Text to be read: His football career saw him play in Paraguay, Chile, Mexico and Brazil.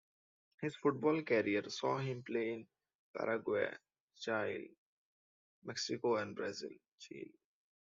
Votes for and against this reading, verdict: 1, 2, rejected